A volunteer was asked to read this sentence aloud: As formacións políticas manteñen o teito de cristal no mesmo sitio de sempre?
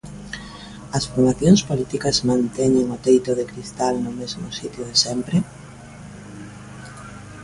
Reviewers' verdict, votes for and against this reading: accepted, 2, 1